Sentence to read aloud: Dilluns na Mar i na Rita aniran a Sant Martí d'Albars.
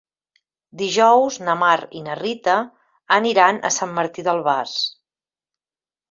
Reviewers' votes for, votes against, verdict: 4, 2, accepted